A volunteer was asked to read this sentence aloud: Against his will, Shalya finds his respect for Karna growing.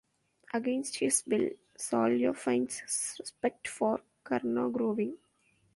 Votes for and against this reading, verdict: 0, 2, rejected